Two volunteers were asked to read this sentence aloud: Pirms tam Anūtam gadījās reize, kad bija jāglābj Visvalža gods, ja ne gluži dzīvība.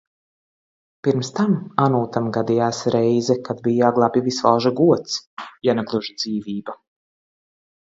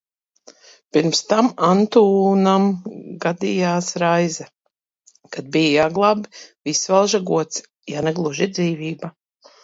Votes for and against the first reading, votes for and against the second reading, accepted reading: 2, 0, 1, 2, first